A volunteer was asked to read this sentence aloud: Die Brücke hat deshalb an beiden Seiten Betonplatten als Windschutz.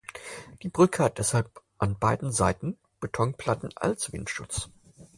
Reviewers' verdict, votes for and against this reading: accepted, 4, 0